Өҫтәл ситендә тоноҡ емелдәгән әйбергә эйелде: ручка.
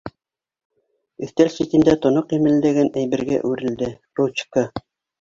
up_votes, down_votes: 1, 2